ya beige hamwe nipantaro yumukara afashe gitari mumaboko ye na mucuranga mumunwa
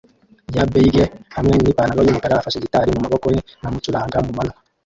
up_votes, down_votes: 0, 2